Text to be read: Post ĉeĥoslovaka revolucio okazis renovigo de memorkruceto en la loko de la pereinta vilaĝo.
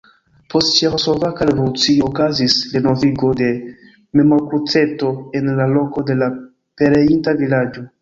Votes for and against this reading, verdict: 0, 2, rejected